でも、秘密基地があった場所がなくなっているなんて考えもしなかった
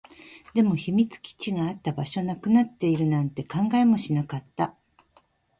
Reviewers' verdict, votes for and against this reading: rejected, 1, 2